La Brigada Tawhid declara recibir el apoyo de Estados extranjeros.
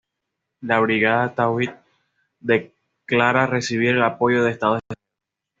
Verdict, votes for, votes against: rejected, 1, 2